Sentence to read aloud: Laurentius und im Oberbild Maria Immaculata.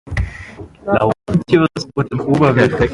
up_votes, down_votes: 0, 2